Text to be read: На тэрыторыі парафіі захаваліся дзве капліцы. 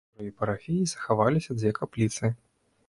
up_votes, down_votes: 1, 2